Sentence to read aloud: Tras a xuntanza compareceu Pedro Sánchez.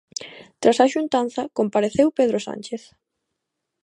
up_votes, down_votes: 2, 0